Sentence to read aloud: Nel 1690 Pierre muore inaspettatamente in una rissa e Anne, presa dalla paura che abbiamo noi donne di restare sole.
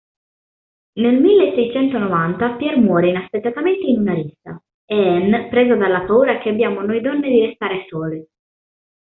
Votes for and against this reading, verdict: 0, 2, rejected